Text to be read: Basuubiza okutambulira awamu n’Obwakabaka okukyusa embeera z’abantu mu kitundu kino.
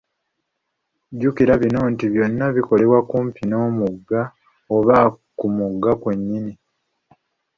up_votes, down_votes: 1, 2